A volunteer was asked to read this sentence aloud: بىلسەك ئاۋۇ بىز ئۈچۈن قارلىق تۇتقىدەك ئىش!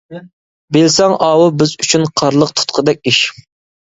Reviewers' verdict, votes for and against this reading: rejected, 1, 2